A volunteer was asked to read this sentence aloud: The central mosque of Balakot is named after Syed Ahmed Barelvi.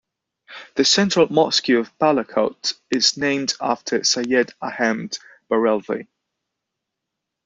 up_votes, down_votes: 0, 2